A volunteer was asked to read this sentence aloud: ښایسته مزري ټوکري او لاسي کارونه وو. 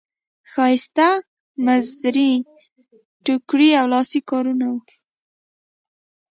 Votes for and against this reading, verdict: 0, 2, rejected